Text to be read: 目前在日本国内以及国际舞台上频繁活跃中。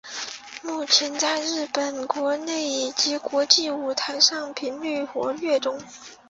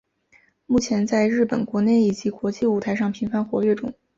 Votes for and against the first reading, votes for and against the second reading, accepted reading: 1, 3, 3, 0, second